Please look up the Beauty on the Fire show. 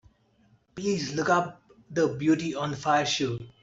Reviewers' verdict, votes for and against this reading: accepted, 2, 1